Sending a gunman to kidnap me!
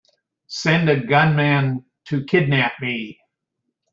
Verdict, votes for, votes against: rejected, 1, 2